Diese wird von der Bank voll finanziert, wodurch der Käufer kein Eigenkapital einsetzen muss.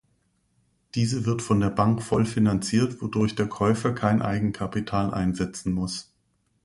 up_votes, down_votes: 2, 0